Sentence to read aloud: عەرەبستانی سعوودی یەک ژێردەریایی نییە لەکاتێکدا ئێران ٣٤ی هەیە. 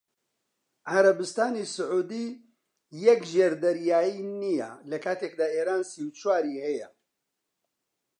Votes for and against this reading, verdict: 0, 2, rejected